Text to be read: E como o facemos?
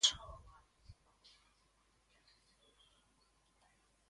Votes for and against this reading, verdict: 0, 2, rejected